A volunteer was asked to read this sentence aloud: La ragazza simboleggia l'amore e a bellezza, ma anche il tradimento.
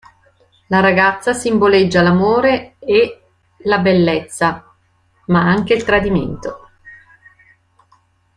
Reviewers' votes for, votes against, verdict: 1, 2, rejected